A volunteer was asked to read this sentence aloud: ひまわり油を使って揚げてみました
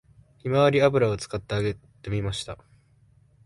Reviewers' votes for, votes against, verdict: 2, 0, accepted